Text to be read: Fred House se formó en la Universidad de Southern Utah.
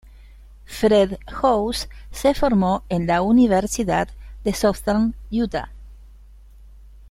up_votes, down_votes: 2, 0